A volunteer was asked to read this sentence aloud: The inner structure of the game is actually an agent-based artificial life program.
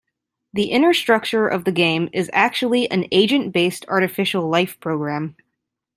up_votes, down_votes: 2, 0